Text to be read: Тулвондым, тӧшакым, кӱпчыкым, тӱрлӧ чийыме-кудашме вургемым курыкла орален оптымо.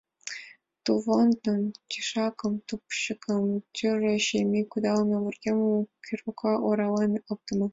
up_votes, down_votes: 2, 1